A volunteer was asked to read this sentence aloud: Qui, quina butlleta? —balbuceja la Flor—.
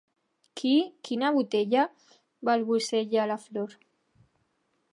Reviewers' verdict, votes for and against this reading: rejected, 0, 2